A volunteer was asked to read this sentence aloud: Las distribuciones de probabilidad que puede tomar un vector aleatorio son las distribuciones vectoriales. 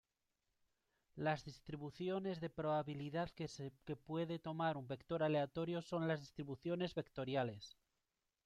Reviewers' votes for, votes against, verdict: 2, 0, accepted